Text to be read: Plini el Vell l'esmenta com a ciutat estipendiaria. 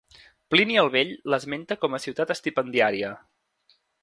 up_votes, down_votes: 3, 0